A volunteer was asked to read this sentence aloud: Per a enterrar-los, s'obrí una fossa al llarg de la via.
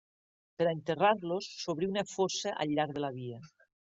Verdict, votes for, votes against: accepted, 2, 0